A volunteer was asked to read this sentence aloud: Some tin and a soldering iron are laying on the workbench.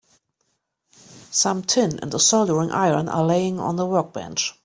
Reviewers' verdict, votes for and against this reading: accepted, 3, 0